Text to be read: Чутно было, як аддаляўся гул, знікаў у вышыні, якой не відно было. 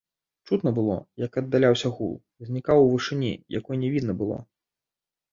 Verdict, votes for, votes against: rejected, 1, 2